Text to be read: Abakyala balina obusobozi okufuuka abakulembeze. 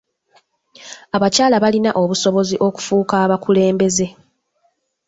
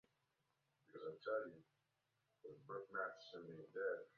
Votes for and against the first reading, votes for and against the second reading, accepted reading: 3, 0, 0, 2, first